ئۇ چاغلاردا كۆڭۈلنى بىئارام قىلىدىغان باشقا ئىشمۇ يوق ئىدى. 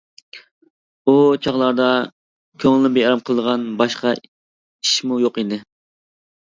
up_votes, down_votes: 0, 2